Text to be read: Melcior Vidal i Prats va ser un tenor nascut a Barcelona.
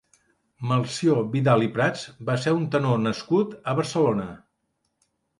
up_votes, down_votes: 2, 0